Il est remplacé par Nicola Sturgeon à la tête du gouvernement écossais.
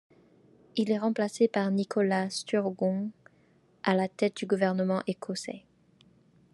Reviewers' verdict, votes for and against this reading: rejected, 1, 2